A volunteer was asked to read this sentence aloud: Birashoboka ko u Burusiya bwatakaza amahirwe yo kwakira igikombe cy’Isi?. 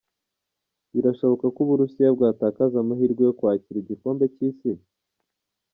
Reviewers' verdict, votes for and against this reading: accepted, 2, 0